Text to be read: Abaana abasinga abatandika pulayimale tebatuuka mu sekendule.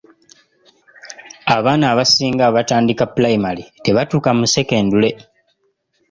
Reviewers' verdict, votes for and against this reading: accepted, 2, 0